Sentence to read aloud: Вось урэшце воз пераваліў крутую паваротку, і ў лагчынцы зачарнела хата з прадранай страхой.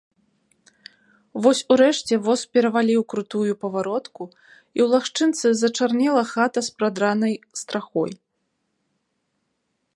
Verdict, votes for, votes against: accepted, 2, 0